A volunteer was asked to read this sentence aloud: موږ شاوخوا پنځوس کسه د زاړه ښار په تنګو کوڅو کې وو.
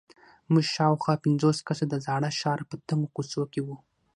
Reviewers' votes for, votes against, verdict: 3, 6, rejected